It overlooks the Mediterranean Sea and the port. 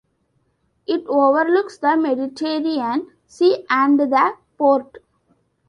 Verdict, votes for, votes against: rejected, 0, 2